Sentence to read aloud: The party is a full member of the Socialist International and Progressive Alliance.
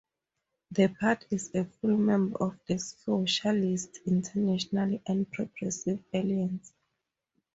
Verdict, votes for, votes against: accepted, 4, 2